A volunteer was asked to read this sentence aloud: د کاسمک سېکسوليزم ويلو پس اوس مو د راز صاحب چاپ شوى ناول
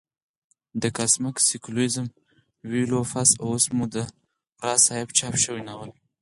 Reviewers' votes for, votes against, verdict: 0, 4, rejected